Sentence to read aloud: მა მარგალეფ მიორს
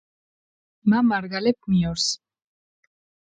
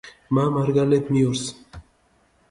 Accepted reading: first